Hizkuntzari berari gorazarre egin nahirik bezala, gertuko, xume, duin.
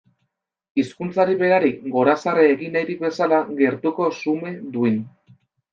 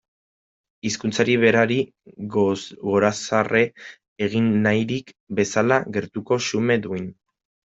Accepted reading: first